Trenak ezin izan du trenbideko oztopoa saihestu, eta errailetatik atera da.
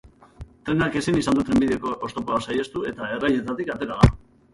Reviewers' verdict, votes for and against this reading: rejected, 1, 2